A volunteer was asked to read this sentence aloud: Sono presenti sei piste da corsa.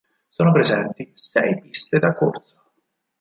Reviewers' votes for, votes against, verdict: 0, 4, rejected